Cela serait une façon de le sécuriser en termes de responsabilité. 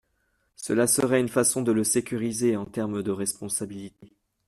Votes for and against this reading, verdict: 0, 2, rejected